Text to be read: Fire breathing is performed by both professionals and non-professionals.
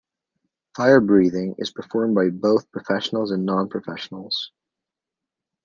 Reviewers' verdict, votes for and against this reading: accepted, 2, 0